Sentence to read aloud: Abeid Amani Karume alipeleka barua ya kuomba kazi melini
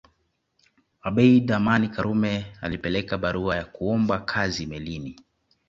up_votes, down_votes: 2, 0